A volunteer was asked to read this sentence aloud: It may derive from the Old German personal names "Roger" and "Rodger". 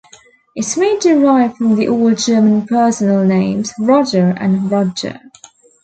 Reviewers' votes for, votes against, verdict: 2, 0, accepted